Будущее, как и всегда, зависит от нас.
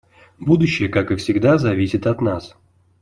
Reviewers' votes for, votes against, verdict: 2, 0, accepted